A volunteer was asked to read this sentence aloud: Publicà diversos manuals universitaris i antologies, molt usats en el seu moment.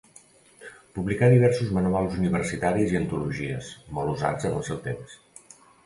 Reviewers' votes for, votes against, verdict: 0, 2, rejected